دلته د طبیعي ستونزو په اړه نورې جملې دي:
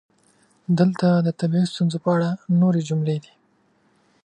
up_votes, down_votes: 2, 0